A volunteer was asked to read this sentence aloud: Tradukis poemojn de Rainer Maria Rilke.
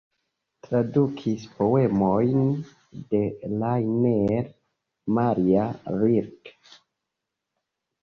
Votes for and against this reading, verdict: 1, 2, rejected